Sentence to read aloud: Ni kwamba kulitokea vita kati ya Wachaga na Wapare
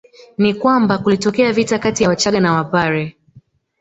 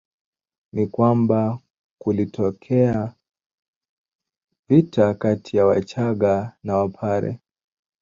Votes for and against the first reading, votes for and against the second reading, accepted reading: 2, 0, 1, 2, first